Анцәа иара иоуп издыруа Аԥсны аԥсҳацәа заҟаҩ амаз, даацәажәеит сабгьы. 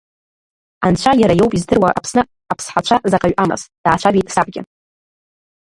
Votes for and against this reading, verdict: 2, 0, accepted